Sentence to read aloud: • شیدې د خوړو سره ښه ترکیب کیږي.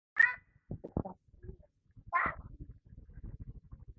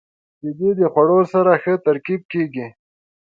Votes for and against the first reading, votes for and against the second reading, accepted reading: 0, 2, 2, 0, second